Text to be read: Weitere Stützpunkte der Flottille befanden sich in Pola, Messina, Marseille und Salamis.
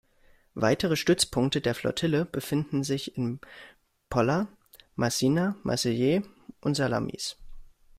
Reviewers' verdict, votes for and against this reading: rejected, 1, 2